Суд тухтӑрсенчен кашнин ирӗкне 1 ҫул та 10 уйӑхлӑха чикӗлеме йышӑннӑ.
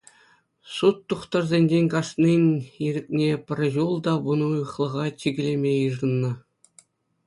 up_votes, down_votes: 0, 2